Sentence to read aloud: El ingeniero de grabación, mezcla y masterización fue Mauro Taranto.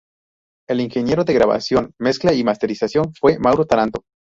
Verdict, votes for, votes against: rejected, 2, 2